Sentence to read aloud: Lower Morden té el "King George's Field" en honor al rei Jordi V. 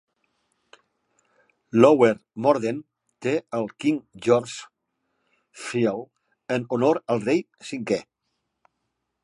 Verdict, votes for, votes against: rejected, 0, 2